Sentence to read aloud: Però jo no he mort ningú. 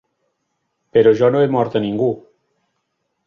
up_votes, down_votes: 0, 2